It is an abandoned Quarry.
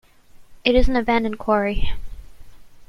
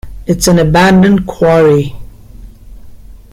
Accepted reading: first